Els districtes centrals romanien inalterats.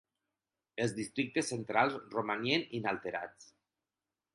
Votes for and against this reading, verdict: 10, 0, accepted